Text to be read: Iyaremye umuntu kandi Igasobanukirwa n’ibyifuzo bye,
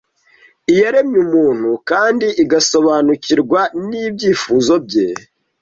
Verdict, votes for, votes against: accepted, 2, 0